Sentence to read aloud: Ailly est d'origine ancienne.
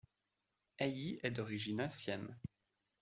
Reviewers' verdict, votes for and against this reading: accepted, 2, 0